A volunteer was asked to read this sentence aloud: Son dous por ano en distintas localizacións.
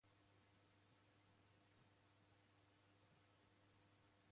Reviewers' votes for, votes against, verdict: 0, 2, rejected